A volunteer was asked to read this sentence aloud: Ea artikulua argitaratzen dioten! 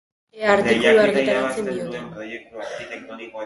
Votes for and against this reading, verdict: 1, 2, rejected